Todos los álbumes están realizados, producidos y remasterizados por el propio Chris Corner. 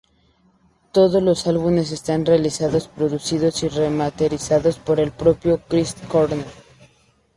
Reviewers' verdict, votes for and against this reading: rejected, 0, 2